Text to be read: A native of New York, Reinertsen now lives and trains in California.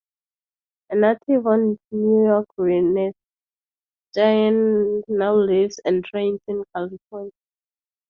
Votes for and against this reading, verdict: 0, 2, rejected